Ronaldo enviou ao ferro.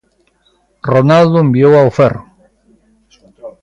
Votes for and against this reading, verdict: 2, 1, accepted